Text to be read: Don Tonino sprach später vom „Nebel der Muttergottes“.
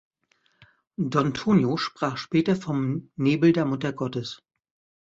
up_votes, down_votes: 1, 2